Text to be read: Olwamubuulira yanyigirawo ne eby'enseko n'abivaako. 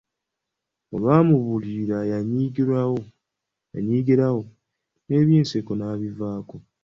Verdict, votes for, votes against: accepted, 2, 0